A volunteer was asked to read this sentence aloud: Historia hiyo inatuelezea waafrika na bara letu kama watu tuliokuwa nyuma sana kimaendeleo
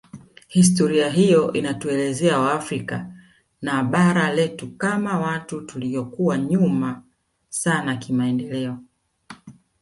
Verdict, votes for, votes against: accepted, 2, 0